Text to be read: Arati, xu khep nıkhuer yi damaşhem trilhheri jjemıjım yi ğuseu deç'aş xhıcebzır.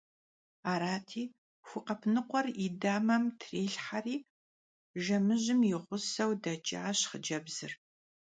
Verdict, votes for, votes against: rejected, 1, 2